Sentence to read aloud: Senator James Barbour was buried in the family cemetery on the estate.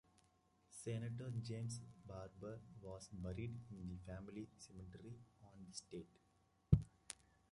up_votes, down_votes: 0, 2